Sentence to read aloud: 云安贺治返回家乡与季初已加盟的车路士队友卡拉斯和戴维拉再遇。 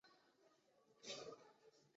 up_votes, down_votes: 3, 4